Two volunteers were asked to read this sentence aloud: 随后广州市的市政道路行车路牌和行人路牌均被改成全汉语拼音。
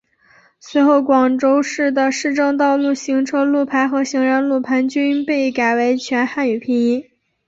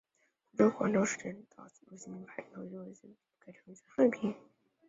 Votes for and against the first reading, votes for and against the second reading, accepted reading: 3, 0, 0, 2, first